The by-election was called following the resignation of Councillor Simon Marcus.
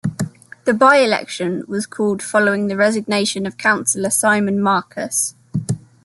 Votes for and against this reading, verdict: 1, 2, rejected